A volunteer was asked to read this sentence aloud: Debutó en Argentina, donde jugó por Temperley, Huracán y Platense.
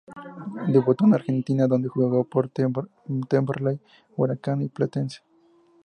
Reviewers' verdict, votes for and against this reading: accepted, 4, 0